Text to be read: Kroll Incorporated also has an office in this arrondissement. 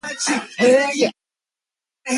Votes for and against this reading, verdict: 0, 2, rejected